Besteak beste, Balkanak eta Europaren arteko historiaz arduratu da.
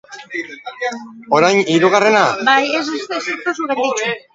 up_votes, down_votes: 0, 2